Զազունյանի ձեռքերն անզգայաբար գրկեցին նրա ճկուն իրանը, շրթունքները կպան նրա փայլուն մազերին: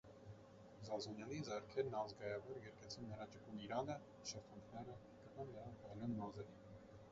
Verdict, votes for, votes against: rejected, 0, 2